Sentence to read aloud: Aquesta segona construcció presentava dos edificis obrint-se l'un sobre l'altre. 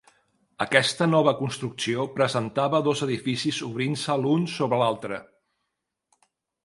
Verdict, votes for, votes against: rejected, 0, 2